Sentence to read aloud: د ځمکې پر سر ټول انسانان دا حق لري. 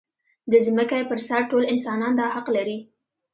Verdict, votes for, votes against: accepted, 2, 0